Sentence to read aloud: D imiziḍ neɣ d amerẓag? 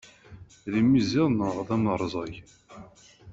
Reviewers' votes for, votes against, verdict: 2, 0, accepted